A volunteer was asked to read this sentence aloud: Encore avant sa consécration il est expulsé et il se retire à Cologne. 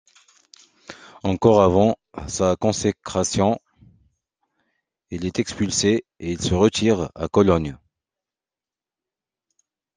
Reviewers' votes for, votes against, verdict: 1, 2, rejected